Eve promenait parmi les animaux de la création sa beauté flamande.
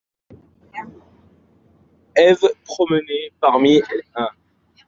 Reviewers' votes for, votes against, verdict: 0, 2, rejected